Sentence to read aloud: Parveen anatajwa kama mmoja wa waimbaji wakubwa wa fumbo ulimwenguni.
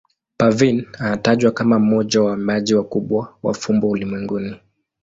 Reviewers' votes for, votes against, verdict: 2, 2, rejected